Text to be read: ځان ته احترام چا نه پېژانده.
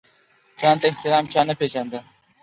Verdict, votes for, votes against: accepted, 4, 0